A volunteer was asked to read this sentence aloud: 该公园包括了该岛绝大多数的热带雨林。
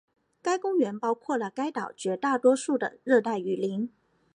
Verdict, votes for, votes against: accepted, 4, 0